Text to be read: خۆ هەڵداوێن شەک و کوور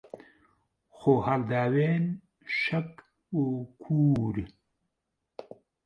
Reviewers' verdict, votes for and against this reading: rejected, 1, 2